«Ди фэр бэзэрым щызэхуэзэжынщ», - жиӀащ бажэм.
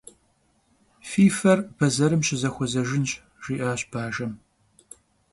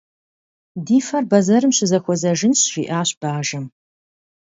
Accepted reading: second